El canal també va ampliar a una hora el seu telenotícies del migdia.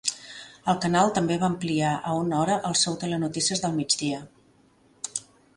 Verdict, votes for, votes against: accepted, 2, 0